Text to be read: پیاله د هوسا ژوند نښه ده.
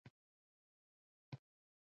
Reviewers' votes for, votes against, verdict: 2, 0, accepted